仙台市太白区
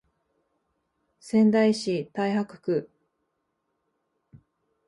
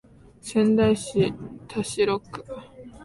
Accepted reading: first